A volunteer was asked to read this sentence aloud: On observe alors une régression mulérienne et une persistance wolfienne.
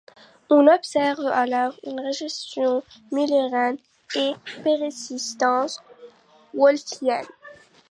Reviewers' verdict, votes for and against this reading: rejected, 0, 2